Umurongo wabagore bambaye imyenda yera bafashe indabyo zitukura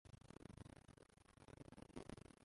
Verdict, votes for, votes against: rejected, 0, 2